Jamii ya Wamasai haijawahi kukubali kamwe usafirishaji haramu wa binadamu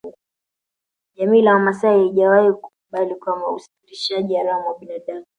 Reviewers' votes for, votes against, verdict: 1, 2, rejected